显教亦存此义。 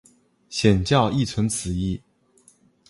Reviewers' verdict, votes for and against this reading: accepted, 3, 1